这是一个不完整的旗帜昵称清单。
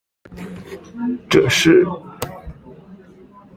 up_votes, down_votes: 0, 2